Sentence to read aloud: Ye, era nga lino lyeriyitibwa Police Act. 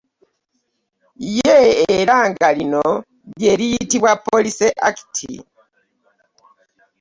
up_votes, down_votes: 0, 2